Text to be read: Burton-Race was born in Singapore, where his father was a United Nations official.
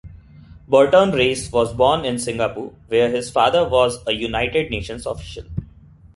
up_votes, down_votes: 2, 1